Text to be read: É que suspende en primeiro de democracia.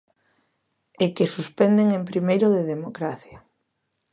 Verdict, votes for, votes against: rejected, 0, 2